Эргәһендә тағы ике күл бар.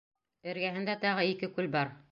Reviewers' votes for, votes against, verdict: 2, 0, accepted